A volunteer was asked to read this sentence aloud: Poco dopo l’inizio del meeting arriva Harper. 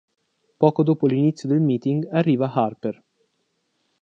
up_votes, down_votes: 2, 0